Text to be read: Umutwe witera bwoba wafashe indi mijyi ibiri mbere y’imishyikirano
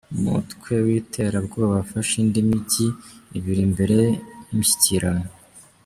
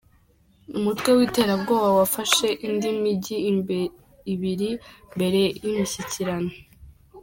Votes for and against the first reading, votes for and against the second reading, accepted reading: 2, 0, 0, 3, first